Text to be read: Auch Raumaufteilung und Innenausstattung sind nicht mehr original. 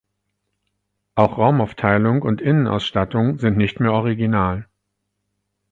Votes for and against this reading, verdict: 4, 0, accepted